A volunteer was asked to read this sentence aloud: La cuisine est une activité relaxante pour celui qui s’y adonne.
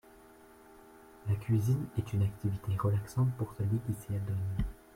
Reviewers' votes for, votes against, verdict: 2, 0, accepted